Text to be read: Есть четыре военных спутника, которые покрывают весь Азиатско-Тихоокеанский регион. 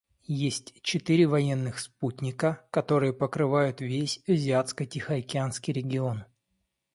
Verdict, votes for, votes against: accepted, 2, 0